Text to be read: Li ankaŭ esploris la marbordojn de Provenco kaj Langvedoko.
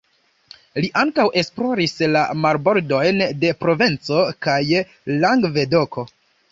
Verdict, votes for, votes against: rejected, 1, 2